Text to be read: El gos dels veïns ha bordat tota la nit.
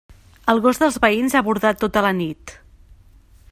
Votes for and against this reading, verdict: 3, 0, accepted